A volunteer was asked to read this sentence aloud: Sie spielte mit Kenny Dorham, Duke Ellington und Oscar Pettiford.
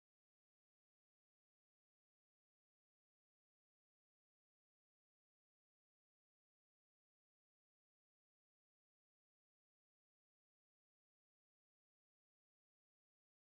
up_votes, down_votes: 0, 2